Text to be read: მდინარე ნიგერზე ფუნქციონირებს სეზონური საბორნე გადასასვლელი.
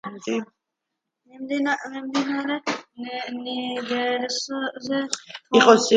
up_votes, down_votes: 0, 2